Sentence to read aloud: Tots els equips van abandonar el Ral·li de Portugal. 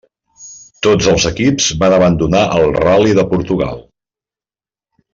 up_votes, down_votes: 2, 0